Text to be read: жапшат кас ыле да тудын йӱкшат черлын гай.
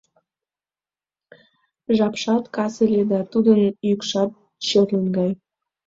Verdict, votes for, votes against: accepted, 2, 0